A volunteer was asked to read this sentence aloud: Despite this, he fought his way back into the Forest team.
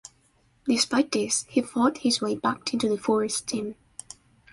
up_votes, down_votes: 2, 0